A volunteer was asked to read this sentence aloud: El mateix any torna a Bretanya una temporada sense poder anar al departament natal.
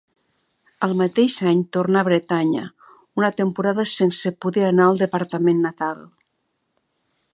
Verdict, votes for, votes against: rejected, 1, 2